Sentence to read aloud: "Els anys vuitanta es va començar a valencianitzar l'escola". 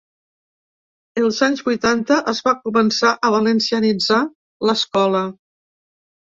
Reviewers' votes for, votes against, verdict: 3, 0, accepted